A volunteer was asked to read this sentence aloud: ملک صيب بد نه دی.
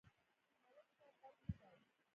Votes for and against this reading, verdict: 1, 2, rejected